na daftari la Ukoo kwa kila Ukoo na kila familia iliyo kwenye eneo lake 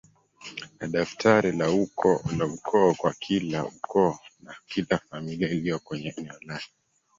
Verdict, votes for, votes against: rejected, 1, 3